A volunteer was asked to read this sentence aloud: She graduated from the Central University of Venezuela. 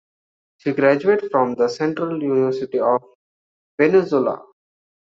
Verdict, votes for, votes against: rejected, 1, 2